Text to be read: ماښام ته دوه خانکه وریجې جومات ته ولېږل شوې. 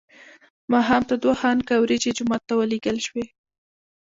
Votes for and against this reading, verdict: 1, 2, rejected